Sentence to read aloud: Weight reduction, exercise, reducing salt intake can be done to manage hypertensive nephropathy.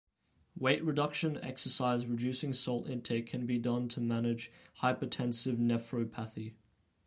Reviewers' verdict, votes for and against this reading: accepted, 2, 1